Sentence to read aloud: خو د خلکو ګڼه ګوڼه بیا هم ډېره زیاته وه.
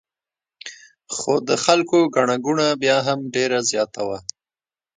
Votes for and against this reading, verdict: 1, 2, rejected